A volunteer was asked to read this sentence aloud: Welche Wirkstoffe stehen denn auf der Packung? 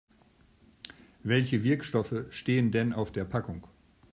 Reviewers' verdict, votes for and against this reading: accepted, 2, 0